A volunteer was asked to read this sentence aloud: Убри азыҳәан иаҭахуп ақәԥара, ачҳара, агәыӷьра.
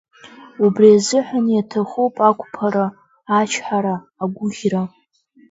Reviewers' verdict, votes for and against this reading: accepted, 2, 0